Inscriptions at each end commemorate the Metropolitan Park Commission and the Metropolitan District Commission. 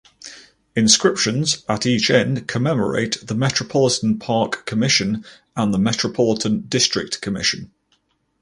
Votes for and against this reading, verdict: 4, 0, accepted